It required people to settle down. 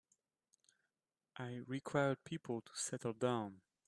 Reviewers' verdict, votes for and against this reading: rejected, 2, 3